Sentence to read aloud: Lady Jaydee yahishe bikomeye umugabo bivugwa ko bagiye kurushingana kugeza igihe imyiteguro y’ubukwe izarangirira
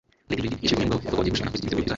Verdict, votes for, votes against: rejected, 1, 2